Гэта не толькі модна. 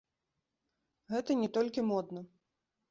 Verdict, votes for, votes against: accepted, 2, 0